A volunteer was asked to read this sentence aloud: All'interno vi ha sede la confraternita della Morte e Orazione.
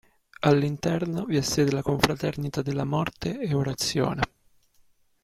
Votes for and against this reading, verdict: 2, 0, accepted